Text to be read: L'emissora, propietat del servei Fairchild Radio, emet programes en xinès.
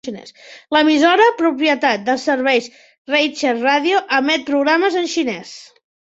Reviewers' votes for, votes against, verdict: 0, 2, rejected